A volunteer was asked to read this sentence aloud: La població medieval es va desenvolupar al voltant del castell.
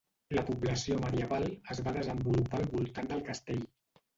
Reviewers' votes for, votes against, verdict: 1, 2, rejected